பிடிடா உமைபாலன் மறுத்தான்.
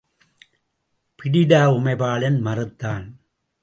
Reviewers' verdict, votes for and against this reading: accepted, 2, 0